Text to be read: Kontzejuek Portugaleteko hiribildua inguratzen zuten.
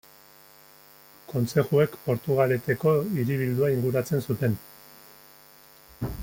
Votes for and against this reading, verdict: 1, 2, rejected